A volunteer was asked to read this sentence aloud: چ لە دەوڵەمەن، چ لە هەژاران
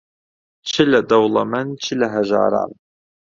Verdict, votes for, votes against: accepted, 2, 0